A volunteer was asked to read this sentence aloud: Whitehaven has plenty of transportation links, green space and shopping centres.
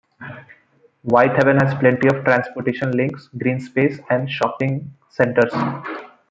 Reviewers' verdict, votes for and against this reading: accepted, 2, 0